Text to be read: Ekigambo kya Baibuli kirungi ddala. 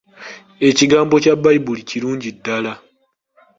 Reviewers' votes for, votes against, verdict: 2, 0, accepted